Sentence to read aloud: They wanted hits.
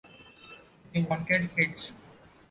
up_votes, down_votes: 2, 0